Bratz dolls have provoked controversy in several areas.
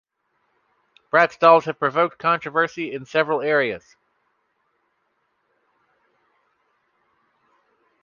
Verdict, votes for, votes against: accepted, 2, 0